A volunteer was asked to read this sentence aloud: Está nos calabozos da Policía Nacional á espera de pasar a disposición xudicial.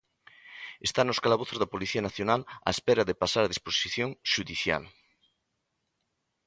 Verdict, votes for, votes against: accepted, 2, 0